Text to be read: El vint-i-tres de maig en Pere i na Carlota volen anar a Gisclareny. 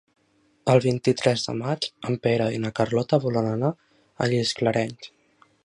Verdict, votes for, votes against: rejected, 2, 3